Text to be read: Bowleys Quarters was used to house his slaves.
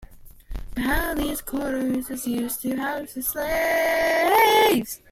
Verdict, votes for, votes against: rejected, 0, 2